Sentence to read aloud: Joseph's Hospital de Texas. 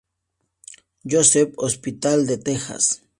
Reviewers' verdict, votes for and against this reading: accepted, 2, 0